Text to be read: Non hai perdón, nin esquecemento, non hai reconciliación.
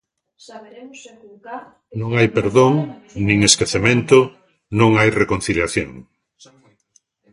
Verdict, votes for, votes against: rejected, 0, 2